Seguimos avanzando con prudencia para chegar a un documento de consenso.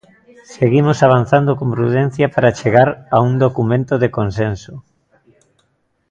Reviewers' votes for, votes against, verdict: 2, 0, accepted